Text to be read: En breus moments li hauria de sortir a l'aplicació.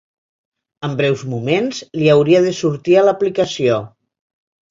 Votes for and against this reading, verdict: 2, 0, accepted